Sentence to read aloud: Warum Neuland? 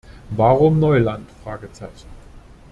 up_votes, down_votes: 1, 2